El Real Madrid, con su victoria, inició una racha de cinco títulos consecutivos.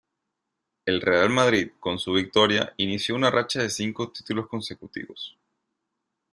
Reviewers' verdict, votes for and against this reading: accepted, 2, 0